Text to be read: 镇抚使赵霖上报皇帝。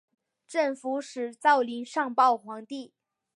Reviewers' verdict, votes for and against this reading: accepted, 4, 1